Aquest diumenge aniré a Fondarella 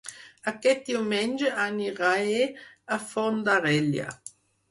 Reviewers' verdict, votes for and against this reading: rejected, 2, 4